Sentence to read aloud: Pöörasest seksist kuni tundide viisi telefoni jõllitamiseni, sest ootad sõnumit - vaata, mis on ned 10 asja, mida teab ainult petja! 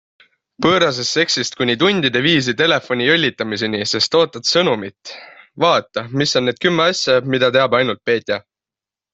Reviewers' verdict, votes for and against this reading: rejected, 0, 2